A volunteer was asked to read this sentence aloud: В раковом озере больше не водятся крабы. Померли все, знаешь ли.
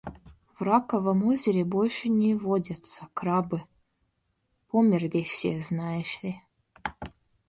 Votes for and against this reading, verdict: 2, 0, accepted